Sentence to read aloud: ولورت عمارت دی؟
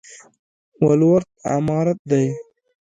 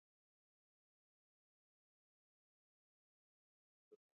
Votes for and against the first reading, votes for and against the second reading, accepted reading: 2, 0, 1, 2, first